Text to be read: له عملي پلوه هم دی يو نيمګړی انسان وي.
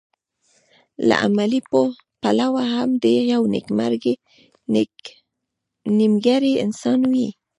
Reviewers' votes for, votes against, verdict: 0, 2, rejected